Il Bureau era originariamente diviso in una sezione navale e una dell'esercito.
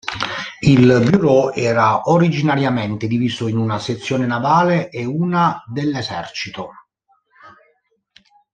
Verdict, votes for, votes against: accepted, 2, 0